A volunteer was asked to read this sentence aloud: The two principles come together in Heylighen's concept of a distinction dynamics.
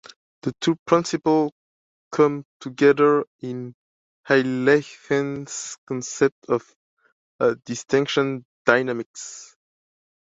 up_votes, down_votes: 1, 2